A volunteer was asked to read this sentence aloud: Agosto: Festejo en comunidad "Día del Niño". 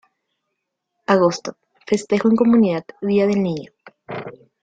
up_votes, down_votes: 2, 0